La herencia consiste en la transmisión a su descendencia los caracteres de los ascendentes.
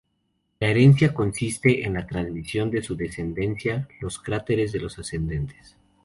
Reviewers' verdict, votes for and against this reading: rejected, 0, 2